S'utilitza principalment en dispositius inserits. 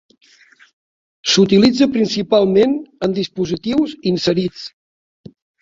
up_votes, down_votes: 3, 0